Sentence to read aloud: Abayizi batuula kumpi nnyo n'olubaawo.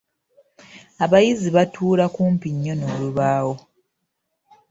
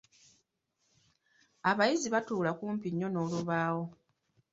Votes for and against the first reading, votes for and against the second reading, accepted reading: 1, 2, 2, 0, second